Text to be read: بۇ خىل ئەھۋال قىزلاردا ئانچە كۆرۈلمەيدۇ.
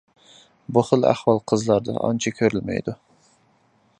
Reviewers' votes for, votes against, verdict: 2, 0, accepted